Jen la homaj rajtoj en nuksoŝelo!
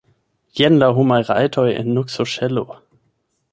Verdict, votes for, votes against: rejected, 0, 8